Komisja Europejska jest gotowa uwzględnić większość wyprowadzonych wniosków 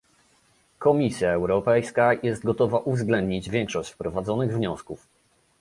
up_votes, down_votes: 1, 2